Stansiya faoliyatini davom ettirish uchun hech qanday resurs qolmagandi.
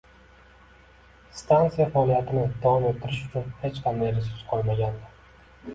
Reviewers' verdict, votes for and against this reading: accepted, 2, 1